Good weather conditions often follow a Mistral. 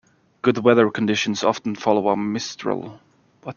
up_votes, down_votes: 1, 2